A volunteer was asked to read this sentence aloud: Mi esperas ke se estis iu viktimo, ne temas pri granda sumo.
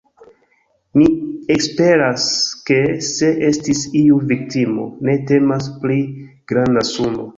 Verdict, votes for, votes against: rejected, 1, 2